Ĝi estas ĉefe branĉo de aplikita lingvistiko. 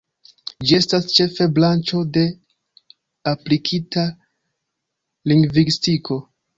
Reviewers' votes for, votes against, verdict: 2, 1, accepted